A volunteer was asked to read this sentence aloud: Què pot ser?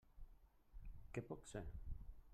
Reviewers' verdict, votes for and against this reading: rejected, 1, 2